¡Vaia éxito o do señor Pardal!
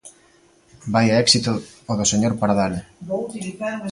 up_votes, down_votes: 1, 2